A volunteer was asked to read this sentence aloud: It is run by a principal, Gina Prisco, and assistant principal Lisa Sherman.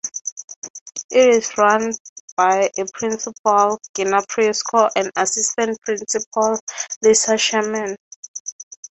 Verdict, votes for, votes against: accepted, 6, 0